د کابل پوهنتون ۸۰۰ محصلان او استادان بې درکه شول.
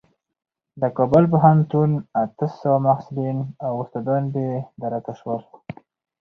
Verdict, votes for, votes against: rejected, 0, 2